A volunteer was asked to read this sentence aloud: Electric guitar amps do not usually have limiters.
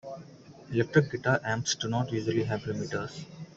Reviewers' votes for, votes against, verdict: 2, 1, accepted